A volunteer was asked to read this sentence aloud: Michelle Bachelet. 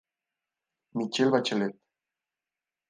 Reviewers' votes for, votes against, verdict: 2, 0, accepted